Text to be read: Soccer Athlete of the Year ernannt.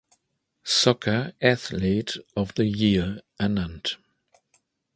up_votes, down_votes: 2, 0